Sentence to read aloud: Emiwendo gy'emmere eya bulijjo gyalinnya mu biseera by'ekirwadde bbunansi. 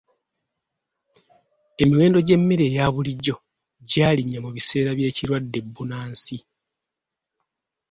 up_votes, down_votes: 2, 0